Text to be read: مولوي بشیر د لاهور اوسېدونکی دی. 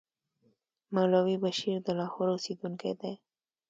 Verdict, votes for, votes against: accepted, 2, 0